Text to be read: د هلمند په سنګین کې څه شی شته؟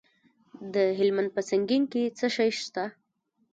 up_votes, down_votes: 0, 2